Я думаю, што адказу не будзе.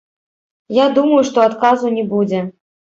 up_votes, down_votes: 1, 3